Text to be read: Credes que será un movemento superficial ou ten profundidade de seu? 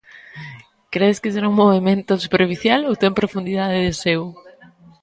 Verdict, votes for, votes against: accepted, 2, 0